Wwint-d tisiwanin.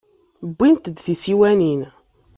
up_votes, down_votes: 2, 0